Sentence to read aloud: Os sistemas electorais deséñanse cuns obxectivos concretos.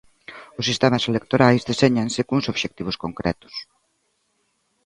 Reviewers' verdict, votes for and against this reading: accepted, 2, 0